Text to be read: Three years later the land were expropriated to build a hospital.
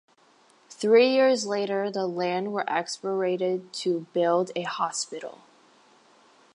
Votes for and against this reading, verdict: 0, 3, rejected